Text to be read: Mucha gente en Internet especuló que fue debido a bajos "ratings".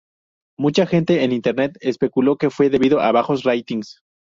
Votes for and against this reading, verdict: 2, 0, accepted